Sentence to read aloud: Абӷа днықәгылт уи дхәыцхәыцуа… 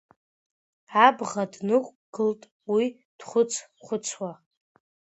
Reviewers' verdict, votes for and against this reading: rejected, 1, 2